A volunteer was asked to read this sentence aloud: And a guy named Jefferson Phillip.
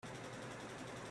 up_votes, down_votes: 0, 4